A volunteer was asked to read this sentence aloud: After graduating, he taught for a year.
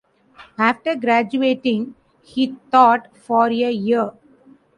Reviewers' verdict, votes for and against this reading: accepted, 2, 1